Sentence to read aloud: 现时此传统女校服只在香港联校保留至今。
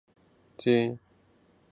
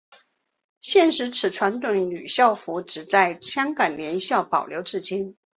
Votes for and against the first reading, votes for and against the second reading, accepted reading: 0, 4, 2, 1, second